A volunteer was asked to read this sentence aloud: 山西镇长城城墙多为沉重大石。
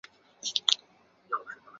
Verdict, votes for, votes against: rejected, 0, 2